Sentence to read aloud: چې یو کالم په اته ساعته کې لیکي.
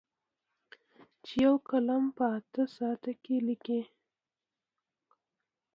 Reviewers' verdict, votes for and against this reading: accepted, 2, 0